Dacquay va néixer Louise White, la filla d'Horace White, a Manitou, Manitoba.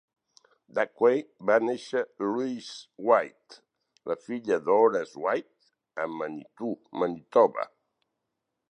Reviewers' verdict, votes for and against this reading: accepted, 4, 0